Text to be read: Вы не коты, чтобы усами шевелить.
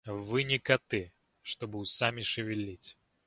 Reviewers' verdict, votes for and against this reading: accepted, 2, 0